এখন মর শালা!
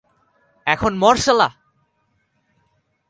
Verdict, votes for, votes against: rejected, 0, 3